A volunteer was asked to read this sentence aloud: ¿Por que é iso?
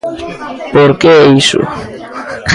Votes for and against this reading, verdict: 1, 2, rejected